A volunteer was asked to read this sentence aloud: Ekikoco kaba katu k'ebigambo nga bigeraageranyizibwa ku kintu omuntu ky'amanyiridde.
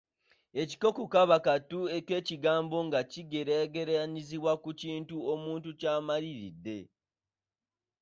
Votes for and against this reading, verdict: 1, 2, rejected